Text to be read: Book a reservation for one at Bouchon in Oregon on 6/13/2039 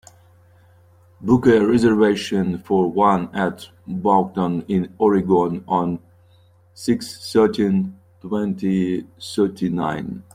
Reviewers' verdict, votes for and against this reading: rejected, 0, 2